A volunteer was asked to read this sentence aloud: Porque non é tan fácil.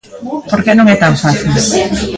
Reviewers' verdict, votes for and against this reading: accepted, 2, 0